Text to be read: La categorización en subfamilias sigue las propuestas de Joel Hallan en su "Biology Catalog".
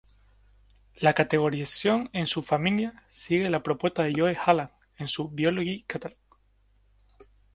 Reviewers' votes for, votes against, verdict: 2, 0, accepted